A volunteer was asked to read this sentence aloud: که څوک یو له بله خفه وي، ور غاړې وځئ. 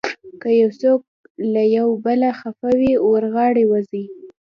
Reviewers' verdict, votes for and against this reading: accepted, 2, 1